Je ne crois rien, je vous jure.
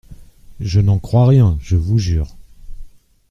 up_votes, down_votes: 0, 3